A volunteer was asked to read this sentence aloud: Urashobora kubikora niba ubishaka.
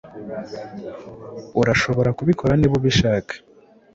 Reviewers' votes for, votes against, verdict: 2, 0, accepted